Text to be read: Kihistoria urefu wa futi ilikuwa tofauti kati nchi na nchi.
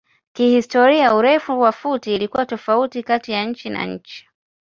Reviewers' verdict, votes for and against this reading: accepted, 2, 0